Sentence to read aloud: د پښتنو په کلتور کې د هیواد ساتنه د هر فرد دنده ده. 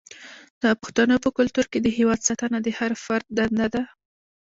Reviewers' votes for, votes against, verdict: 1, 2, rejected